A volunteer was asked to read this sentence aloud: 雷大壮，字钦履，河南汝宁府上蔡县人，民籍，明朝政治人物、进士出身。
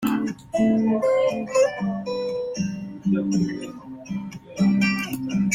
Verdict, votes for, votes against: rejected, 0, 2